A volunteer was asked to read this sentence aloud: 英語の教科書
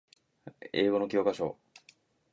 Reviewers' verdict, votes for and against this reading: accepted, 2, 0